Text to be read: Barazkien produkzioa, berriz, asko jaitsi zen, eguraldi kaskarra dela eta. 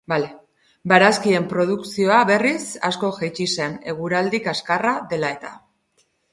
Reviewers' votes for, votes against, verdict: 0, 2, rejected